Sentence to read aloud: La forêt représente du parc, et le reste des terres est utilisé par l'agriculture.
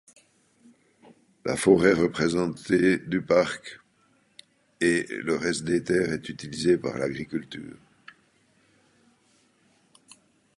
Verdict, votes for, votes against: rejected, 1, 2